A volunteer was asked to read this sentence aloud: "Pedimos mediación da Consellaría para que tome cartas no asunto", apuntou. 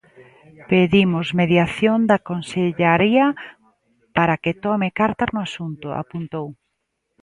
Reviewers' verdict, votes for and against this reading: rejected, 1, 2